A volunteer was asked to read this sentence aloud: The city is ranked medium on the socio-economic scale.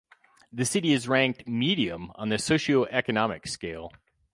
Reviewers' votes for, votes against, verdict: 4, 0, accepted